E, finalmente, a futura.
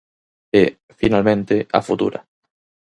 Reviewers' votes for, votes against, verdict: 4, 0, accepted